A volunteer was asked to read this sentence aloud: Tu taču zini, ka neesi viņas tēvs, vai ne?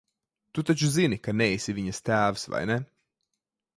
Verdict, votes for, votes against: accepted, 2, 0